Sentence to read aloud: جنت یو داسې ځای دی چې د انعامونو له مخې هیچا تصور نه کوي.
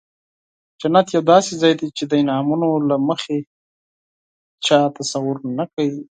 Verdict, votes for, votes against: rejected, 2, 4